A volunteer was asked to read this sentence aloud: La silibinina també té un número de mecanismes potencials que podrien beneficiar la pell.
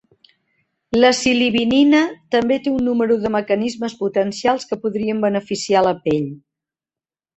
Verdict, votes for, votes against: accepted, 3, 0